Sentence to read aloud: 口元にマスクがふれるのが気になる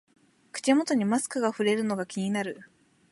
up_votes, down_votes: 2, 0